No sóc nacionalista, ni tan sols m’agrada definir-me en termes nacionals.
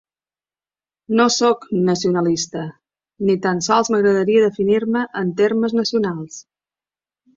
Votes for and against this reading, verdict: 0, 2, rejected